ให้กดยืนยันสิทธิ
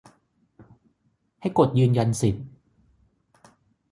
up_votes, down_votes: 3, 3